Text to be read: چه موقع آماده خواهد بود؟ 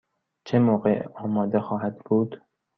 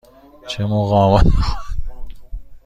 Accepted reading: first